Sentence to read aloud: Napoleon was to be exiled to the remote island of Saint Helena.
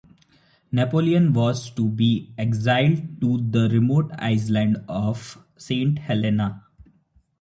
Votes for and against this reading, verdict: 1, 2, rejected